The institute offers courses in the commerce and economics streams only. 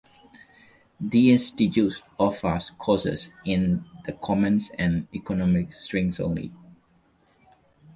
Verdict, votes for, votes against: rejected, 1, 2